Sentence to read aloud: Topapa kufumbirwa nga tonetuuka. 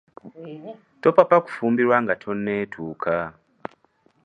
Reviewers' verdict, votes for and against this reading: accepted, 2, 0